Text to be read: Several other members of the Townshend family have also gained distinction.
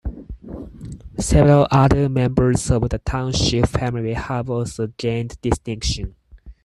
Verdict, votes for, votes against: rejected, 0, 4